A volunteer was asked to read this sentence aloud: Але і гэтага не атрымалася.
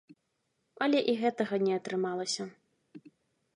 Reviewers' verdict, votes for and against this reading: accepted, 3, 0